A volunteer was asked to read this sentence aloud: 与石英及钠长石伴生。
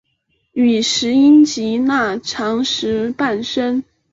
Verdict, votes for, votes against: accepted, 3, 0